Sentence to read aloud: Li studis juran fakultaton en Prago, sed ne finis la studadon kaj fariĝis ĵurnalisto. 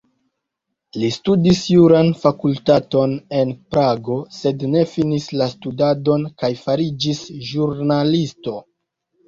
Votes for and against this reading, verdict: 1, 2, rejected